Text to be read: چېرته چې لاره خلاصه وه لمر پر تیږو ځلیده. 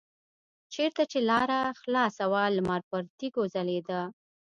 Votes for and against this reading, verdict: 1, 2, rejected